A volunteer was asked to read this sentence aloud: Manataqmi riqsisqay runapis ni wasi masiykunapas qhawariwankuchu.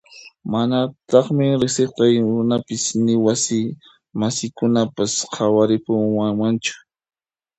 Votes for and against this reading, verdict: 1, 2, rejected